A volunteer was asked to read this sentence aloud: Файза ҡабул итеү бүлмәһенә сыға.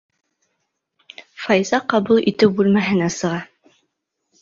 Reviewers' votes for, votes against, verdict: 2, 0, accepted